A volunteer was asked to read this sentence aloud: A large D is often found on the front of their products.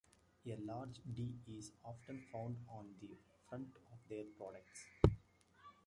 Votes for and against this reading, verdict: 1, 2, rejected